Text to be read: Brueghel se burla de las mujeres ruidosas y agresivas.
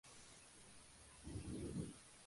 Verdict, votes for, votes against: rejected, 0, 4